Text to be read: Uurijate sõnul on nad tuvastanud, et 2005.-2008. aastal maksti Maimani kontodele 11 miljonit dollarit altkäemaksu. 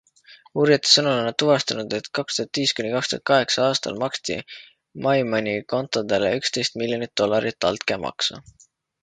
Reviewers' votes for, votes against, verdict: 0, 2, rejected